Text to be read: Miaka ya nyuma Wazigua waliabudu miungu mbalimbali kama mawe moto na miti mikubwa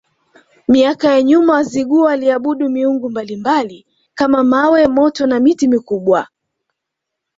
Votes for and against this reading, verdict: 2, 0, accepted